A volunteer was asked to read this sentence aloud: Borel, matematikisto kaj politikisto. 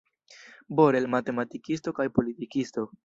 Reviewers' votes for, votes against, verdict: 2, 0, accepted